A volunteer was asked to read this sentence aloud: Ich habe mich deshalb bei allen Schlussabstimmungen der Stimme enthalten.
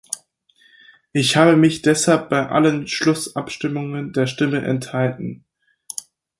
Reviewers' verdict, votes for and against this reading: accepted, 4, 0